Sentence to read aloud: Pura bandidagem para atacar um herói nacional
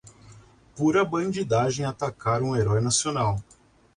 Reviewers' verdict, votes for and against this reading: rejected, 0, 2